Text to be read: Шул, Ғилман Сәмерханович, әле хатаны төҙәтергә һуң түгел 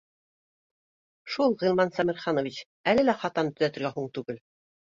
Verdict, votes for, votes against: rejected, 1, 2